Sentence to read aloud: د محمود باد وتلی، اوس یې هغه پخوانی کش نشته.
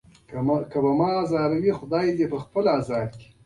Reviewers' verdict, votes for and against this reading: rejected, 0, 2